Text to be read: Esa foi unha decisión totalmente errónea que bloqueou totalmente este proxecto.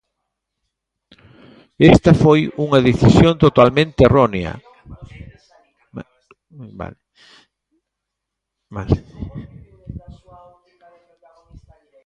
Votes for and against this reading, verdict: 1, 2, rejected